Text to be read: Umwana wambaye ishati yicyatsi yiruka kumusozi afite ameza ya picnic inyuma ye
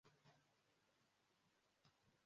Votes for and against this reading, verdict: 0, 2, rejected